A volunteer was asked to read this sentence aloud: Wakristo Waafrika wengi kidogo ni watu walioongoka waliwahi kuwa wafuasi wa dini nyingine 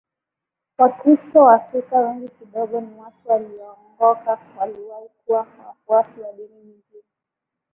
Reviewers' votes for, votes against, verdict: 2, 0, accepted